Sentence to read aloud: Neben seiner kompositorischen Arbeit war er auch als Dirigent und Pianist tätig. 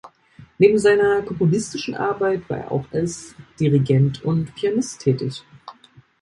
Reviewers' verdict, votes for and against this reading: rejected, 0, 2